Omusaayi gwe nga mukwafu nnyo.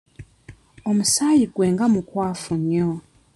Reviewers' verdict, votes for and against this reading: accepted, 2, 0